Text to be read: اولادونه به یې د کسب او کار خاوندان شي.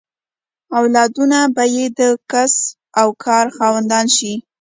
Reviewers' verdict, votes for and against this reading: accepted, 2, 0